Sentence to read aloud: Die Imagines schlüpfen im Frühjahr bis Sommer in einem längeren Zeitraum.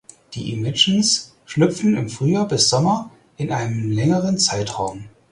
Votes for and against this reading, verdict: 4, 0, accepted